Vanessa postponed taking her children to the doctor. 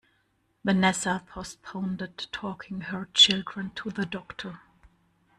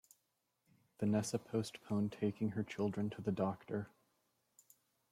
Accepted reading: second